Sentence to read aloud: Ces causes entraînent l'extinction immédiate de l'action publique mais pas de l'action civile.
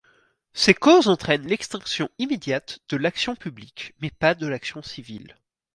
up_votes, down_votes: 4, 0